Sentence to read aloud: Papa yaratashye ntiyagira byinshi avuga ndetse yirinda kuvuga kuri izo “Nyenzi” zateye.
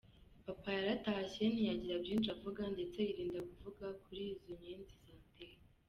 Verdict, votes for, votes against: rejected, 1, 2